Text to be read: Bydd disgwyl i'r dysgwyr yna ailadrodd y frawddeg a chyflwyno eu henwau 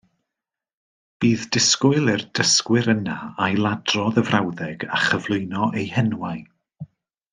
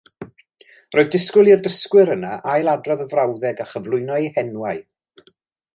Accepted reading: first